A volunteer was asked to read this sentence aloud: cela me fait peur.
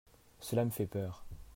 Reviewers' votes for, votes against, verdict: 2, 0, accepted